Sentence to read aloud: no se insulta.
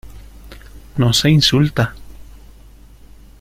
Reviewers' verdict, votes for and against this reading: accepted, 2, 0